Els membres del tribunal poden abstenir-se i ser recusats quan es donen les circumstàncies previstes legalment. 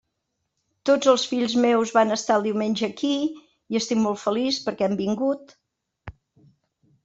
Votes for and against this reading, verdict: 0, 2, rejected